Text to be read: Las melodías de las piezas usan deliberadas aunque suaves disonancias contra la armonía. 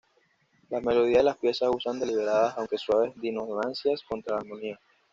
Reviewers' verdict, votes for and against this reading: rejected, 1, 2